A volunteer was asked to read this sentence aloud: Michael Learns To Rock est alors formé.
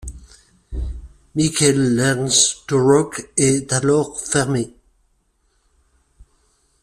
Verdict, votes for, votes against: rejected, 1, 2